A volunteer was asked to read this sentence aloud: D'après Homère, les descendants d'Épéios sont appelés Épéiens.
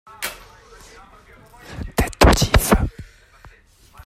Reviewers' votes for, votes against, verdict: 0, 2, rejected